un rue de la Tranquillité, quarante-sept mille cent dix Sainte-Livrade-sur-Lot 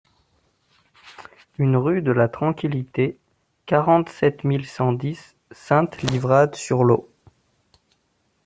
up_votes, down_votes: 0, 2